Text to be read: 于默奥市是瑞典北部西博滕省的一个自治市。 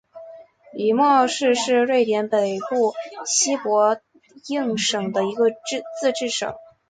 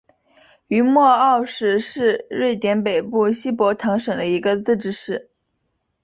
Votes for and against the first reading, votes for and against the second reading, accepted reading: 0, 5, 2, 0, second